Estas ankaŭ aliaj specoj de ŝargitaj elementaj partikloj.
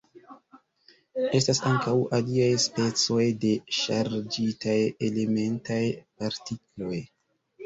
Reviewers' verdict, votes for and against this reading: rejected, 0, 2